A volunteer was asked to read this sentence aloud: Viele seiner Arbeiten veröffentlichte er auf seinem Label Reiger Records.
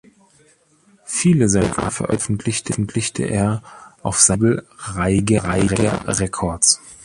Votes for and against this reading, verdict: 0, 2, rejected